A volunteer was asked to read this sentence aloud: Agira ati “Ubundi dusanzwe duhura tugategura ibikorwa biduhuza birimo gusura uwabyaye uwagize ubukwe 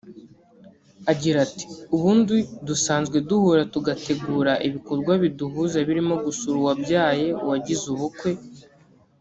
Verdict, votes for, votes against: rejected, 0, 2